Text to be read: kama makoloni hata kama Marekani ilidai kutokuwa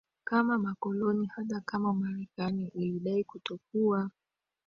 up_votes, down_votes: 2, 1